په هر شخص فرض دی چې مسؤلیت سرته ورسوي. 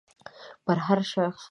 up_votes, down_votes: 1, 2